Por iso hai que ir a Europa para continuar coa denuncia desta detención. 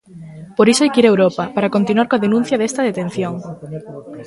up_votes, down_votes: 0, 2